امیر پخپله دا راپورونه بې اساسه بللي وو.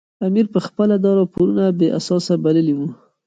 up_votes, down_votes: 2, 0